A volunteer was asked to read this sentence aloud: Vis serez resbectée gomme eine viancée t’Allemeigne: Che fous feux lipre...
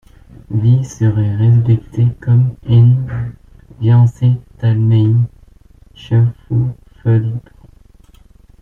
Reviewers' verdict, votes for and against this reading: rejected, 1, 2